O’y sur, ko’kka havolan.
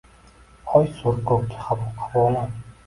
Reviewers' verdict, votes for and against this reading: rejected, 0, 2